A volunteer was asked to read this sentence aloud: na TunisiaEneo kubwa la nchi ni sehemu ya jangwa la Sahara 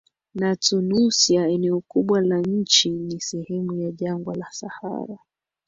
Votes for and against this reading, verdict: 2, 0, accepted